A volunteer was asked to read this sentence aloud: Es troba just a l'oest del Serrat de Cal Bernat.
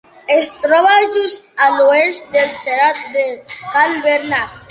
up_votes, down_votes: 2, 0